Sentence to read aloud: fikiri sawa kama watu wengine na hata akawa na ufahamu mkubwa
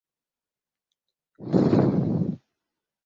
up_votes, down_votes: 0, 2